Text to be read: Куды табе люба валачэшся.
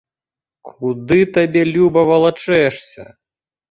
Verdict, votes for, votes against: accepted, 2, 0